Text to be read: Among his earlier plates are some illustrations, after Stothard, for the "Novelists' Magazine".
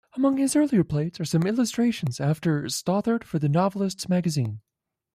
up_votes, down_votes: 2, 1